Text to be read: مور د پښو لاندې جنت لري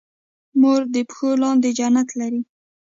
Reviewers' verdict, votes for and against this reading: accepted, 2, 0